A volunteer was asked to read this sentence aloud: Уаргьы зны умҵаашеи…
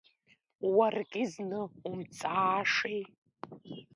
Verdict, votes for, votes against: rejected, 1, 2